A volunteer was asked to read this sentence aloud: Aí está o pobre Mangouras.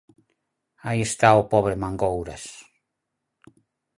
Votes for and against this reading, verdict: 4, 0, accepted